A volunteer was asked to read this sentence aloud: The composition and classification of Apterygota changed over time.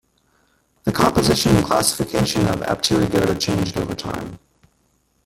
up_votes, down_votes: 0, 2